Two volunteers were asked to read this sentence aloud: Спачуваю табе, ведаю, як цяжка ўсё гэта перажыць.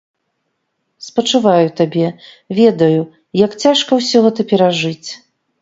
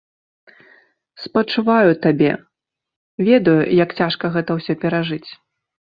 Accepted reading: first